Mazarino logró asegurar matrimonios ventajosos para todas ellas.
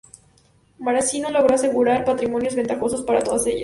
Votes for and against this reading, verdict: 0, 2, rejected